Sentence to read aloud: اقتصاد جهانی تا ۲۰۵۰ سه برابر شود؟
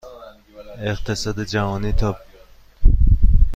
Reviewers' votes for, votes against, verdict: 0, 2, rejected